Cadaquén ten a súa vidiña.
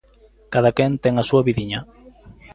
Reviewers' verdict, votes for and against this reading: accepted, 2, 0